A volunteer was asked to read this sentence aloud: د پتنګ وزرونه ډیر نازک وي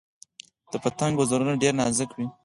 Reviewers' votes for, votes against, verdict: 4, 0, accepted